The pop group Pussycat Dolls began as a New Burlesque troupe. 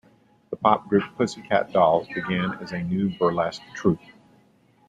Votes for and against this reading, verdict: 2, 0, accepted